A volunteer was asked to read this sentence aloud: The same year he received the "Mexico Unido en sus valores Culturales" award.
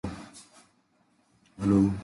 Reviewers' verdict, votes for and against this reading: rejected, 0, 2